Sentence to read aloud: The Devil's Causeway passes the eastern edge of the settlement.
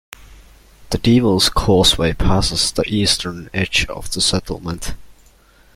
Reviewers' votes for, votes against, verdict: 1, 2, rejected